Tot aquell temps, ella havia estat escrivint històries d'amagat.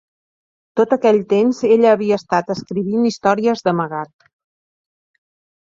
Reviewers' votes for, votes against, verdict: 2, 0, accepted